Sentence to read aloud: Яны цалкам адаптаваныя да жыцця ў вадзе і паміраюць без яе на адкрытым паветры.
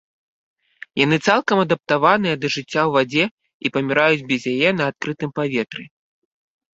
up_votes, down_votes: 2, 0